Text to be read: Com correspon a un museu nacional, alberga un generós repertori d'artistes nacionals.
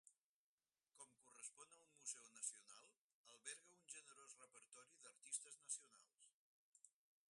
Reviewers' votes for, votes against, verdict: 0, 4, rejected